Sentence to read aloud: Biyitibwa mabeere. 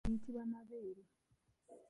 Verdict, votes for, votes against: rejected, 1, 2